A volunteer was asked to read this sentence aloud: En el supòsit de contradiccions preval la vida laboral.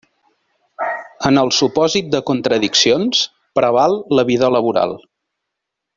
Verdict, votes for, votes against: accepted, 3, 0